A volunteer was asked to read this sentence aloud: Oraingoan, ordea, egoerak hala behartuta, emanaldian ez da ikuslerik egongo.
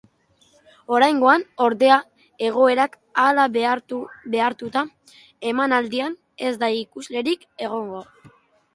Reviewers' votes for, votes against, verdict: 0, 2, rejected